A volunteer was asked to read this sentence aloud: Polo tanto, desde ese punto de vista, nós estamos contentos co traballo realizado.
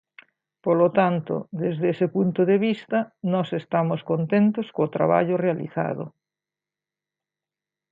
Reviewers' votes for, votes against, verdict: 2, 0, accepted